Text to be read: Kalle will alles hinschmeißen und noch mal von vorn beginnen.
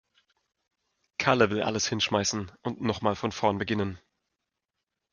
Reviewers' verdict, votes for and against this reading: accepted, 2, 0